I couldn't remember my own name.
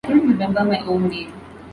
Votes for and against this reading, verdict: 0, 2, rejected